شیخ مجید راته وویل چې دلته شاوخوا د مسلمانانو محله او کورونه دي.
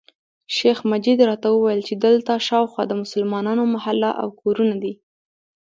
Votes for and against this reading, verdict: 1, 2, rejected